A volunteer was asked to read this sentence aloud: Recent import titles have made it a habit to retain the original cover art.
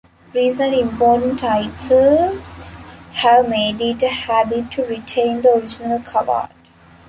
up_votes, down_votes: 0, 2